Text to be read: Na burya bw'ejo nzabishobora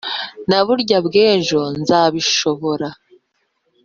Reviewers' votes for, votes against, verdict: 3, 0, accepted